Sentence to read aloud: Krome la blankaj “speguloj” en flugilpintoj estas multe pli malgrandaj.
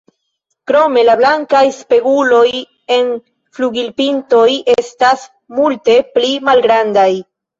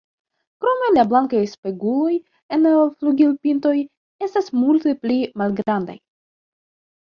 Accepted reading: first